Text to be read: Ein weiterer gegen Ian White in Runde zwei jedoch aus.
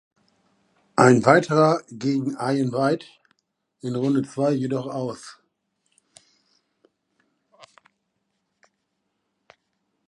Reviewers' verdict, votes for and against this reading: accepted, 2, 0